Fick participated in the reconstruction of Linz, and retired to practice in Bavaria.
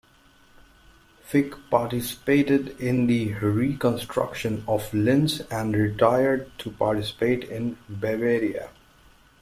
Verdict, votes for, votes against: rejected, 1, 2